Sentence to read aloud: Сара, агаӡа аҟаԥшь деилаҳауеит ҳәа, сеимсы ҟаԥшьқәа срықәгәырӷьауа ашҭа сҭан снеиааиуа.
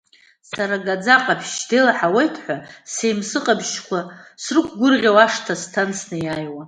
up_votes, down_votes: 2, 0